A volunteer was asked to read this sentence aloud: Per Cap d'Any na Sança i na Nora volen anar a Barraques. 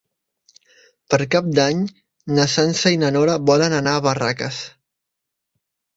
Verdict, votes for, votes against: accepted, 3, 0